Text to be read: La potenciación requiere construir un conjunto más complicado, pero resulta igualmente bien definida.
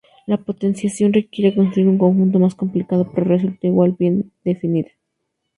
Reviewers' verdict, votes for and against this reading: rejected, 0, 2